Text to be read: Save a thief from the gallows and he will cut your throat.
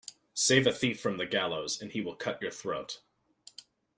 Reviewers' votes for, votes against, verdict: 2, 0, accepted